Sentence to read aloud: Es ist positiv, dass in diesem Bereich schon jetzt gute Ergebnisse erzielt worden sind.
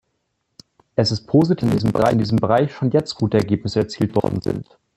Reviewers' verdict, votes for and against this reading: rejected, 0, 2